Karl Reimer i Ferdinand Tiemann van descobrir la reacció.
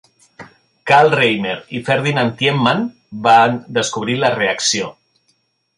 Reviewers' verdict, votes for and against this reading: accepted, 3, 0